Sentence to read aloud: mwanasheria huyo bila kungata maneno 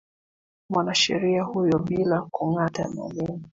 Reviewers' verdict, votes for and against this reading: rejected, 0, 2